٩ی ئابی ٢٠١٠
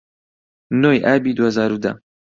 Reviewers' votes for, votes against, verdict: 0, 2, rejected